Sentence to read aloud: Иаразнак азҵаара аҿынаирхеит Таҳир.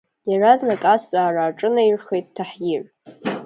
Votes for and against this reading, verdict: 1, 2, rejected